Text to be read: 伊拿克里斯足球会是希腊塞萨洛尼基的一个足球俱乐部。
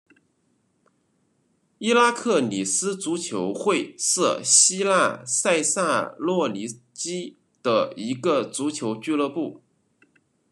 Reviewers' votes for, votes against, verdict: 0, 2, rejected